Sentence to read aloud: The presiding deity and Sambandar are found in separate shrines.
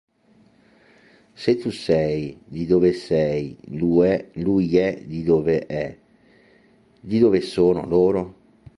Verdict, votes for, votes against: rejected, 0, 2